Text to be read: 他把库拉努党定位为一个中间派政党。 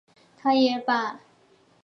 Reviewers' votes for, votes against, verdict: 0, 3, rejected